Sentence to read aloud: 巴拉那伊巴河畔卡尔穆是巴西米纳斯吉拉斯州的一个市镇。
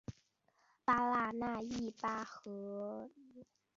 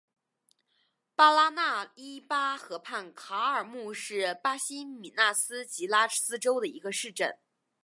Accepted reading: second